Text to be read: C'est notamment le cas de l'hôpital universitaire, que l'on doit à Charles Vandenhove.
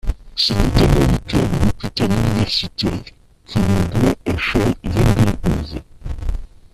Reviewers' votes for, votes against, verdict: 0, 2, rejected